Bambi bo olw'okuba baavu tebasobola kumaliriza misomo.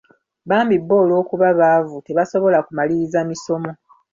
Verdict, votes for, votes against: accepted, 2, 1